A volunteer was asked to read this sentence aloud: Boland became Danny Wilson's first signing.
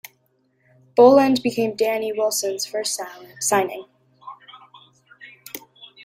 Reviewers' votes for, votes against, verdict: 2, 1, accepted